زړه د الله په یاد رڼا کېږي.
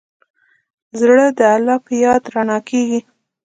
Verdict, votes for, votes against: accepted, 2, 0